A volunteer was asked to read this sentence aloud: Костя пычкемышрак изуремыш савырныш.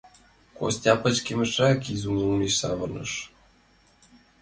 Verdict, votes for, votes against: accepted, 2, 0